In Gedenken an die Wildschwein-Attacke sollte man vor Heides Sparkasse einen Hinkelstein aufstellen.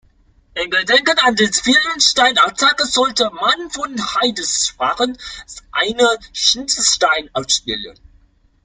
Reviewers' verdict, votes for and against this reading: rejected, 0, 2